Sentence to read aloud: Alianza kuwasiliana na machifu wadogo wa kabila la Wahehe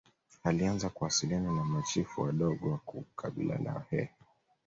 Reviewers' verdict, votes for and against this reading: rejected, 1, 2